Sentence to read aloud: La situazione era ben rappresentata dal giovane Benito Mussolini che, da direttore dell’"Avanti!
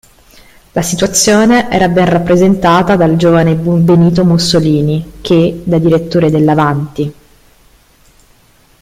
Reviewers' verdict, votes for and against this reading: rejected, 1, 2